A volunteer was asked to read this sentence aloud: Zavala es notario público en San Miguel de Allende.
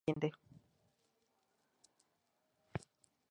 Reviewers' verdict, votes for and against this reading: rejected, 0, 6